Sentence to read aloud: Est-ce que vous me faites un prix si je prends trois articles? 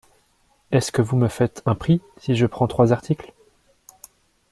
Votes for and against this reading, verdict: 2, 1, accepted